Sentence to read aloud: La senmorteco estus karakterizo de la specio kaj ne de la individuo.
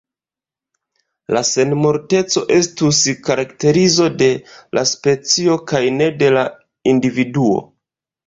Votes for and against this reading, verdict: 2, 1, accepted